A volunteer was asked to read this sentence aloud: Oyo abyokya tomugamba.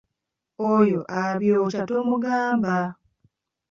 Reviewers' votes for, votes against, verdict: 2, 0, accepted